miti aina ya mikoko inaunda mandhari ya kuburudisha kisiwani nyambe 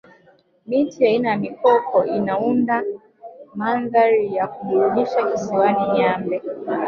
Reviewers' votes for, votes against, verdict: 0, 2, rejected